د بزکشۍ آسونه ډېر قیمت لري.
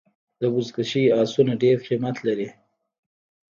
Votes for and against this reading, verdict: 0, 2, rejected